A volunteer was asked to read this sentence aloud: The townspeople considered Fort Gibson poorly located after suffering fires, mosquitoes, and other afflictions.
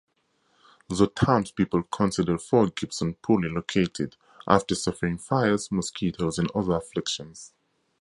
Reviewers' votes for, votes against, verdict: 2, 0, accepted